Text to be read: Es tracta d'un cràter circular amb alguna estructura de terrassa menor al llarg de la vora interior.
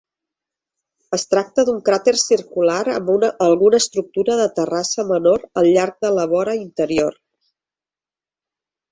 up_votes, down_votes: 0, 2